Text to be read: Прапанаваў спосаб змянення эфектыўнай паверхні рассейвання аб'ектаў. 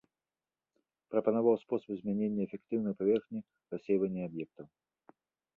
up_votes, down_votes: 2, 0